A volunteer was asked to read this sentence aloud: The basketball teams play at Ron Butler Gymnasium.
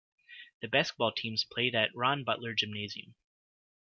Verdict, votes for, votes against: accepted, 2, 1